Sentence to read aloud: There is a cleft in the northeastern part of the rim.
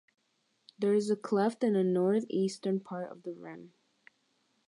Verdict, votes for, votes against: accepted, 3, 0